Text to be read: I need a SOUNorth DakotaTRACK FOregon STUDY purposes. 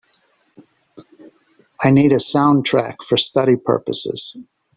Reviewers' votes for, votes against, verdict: 0, 2, rejected